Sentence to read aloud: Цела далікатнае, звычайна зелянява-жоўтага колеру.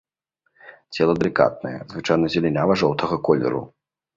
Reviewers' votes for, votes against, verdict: 2, 0, accepted